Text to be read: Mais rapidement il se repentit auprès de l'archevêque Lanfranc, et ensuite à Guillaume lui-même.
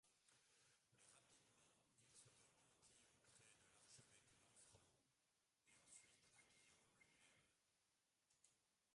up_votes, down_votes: 0, 2